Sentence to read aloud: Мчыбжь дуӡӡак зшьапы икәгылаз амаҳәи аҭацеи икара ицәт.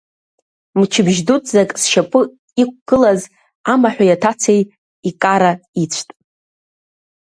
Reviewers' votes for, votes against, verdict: 2, 0, accepted